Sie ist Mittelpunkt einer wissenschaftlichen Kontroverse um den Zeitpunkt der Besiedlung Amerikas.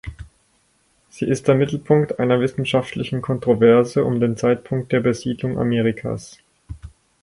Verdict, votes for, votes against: rejected, 2, 4